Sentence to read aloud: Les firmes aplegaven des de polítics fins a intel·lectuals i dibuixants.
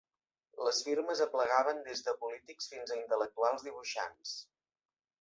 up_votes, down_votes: 1, 2